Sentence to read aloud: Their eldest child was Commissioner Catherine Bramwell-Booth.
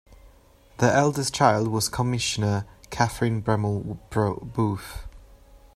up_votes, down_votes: 1, 2